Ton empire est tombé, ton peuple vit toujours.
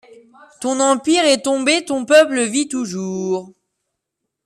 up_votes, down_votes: 2, 1